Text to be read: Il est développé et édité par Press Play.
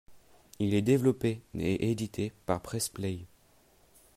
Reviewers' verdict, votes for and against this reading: accepted, 2, 0